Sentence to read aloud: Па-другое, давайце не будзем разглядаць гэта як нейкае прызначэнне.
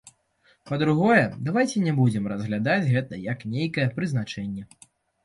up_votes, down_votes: 2, 0